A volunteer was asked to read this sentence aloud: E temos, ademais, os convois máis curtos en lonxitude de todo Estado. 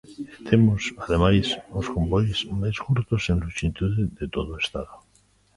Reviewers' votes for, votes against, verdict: 2, 0, accepted